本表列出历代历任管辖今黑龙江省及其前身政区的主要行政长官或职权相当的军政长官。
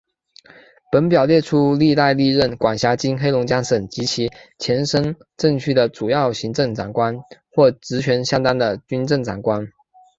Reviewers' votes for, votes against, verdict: 2, 1, accepted